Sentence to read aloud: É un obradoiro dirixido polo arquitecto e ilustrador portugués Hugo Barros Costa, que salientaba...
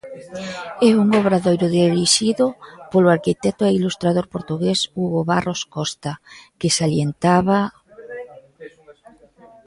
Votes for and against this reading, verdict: 0, 2, rejected